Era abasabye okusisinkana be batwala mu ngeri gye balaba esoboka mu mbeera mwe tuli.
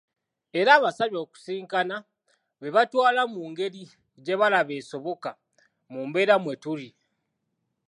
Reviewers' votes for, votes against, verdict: 0, 2, rejected